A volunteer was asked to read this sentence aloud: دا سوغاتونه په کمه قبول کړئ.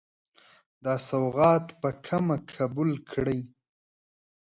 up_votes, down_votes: 1, 2